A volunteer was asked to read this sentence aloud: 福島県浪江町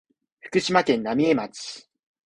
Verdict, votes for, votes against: accepted, 2, 0